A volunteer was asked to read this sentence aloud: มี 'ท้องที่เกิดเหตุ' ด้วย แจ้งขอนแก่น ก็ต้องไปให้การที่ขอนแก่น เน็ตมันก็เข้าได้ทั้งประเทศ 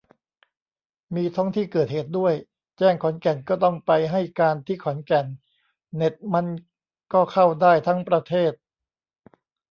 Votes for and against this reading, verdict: 0, 2, rejected